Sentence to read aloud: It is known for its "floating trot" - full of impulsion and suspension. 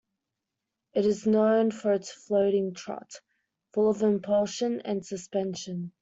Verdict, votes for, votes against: accepted, 2, 0